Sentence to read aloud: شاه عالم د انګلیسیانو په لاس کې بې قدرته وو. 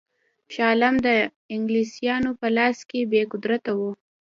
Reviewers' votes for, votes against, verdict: 2, 0, accepted